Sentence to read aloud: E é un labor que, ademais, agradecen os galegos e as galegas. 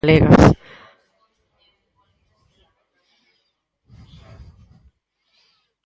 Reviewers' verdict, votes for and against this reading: rejected, 0, 4